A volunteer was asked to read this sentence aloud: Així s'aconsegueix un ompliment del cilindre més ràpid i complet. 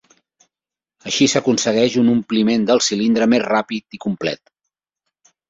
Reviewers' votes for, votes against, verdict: 3, 0, accepted